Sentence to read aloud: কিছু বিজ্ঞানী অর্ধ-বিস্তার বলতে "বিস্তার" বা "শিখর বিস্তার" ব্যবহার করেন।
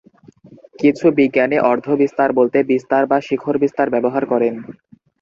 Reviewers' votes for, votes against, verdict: 2, 0, accepted